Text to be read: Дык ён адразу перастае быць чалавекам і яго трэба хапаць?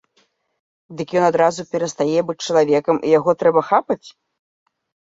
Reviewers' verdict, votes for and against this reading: rejected, 0, 2